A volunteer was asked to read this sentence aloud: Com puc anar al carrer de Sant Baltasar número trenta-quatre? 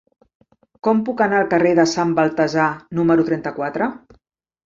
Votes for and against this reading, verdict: 3, 0, accepted